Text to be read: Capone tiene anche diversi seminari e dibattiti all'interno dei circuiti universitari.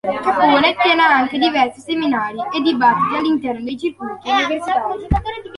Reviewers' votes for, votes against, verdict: 2, 1, accepted